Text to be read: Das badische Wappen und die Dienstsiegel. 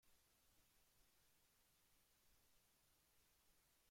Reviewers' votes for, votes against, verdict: 0, 2, rejected